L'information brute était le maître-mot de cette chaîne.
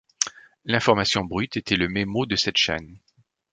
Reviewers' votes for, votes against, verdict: 1, 2, rejected